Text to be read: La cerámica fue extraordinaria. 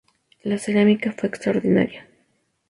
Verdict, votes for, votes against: accepted, 2, 0